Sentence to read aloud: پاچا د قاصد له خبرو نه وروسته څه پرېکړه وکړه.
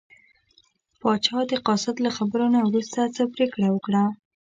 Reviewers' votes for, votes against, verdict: 1, 2, rejected